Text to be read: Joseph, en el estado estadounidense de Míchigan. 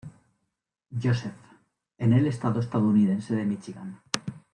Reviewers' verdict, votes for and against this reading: accepted, 2, 0